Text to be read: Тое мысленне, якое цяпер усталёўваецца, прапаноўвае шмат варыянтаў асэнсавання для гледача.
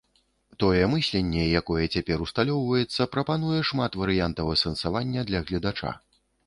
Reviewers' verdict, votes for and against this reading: rejected, 1, 2